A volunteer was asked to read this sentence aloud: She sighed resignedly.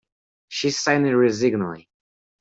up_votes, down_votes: 0, 2